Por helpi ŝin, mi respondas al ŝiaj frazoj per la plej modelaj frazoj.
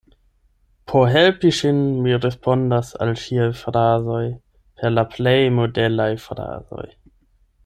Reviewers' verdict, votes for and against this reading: accepted, 8, 0